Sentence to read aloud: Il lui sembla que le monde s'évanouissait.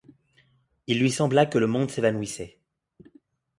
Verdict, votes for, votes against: accepted, 2, 0